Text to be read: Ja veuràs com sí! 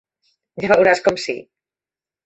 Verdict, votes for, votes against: accepted, 3, 0